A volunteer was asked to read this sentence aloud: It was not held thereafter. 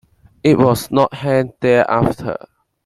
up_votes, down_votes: 2, 0